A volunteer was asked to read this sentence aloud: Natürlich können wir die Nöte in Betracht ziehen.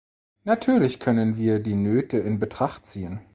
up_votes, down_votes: 2, 0